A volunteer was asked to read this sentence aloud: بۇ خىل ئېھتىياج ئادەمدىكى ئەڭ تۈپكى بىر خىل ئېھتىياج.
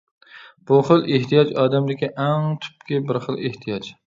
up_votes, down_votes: 2, 0